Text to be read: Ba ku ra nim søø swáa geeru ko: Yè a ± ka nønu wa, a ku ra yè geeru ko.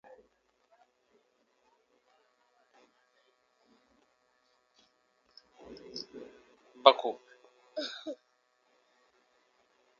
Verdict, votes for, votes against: rejected, 0, 2